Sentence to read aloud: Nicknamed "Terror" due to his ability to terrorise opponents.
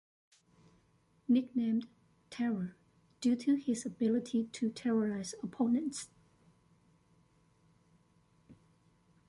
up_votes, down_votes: 2, 0